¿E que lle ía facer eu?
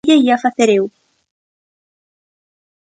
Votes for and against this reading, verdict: 0, 2, rejected